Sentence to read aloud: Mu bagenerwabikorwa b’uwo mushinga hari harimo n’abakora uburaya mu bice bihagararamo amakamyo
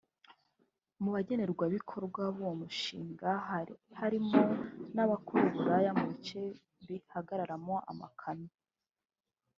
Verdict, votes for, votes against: rejected, 1, 2